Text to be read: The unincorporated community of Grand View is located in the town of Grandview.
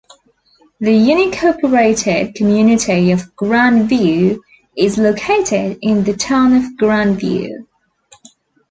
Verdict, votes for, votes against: accepted, 2, 1